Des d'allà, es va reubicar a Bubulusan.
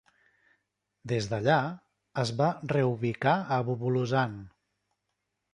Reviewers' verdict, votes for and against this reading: accepted, 2, 0